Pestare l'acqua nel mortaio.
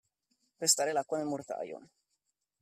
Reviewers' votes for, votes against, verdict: 2, 1, accepted